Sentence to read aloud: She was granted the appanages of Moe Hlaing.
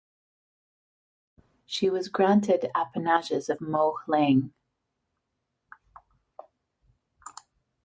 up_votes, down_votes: 1, 2